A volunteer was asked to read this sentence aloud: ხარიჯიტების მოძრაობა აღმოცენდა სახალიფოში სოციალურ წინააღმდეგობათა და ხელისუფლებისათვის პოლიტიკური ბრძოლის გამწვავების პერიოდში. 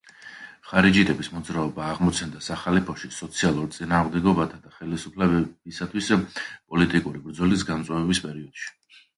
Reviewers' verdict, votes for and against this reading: rejected, 1, 2